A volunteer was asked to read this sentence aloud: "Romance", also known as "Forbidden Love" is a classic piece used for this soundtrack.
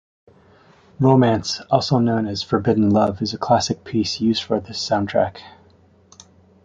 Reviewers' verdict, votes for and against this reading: accepted, 2, 0